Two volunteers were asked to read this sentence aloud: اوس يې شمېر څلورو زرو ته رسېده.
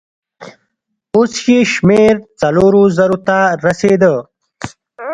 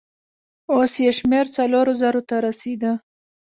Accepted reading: second